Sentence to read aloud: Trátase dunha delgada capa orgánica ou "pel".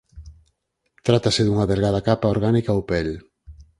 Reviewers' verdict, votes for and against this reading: rejected, 0, 4